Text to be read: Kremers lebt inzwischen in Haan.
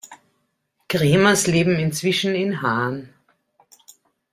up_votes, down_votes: 1, 2